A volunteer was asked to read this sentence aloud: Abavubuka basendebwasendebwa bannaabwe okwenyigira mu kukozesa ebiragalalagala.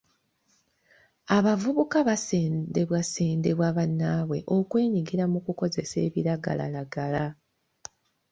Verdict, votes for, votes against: accepted, 2, 0